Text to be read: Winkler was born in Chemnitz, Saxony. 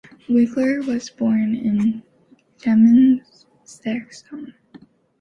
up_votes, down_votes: 1, 2